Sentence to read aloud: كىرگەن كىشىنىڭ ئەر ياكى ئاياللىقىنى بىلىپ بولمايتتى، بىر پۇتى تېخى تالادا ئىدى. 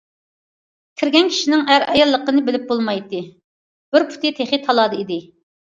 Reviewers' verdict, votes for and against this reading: rejected, 0, 2